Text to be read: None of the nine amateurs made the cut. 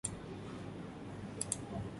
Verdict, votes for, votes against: rejected, 0, 2